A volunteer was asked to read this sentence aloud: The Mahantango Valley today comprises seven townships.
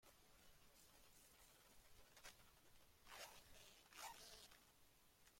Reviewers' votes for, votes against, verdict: 0, 2, rejected